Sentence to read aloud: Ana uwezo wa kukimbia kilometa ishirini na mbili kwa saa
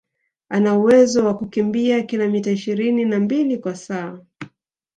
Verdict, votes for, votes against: accepted, 2, 0